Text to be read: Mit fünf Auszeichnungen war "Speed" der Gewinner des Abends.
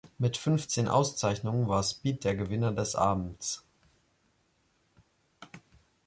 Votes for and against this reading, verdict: 0, 2, rejected